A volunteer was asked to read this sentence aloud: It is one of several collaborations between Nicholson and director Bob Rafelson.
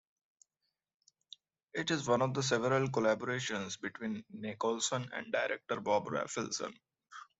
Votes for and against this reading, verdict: 0, 2, rejected